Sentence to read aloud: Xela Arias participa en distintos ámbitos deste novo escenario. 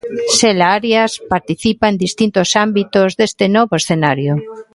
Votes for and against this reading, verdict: 2, 1, accepted